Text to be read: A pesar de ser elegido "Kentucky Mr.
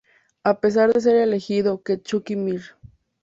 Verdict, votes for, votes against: rejected, 0, 2